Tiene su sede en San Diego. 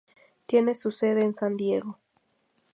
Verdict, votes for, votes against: accepted, 2, 0